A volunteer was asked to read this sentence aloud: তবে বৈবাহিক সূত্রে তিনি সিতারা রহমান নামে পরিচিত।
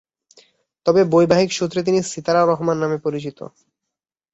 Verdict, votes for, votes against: accepted, 2, 0